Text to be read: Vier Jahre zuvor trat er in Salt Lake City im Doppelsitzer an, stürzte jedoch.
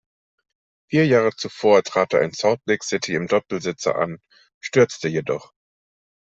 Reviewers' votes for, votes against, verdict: 1, 2, rejected